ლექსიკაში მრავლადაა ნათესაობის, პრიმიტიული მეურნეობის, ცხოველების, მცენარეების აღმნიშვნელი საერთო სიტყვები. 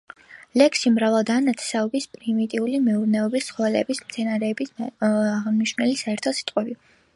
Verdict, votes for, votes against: rejected, 0, 3